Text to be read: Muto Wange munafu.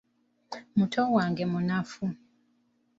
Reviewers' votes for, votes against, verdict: 3, 0, accepted